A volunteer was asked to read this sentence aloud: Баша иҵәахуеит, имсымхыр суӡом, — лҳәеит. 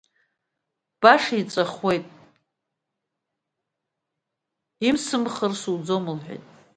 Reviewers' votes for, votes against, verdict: 2, 0, accepted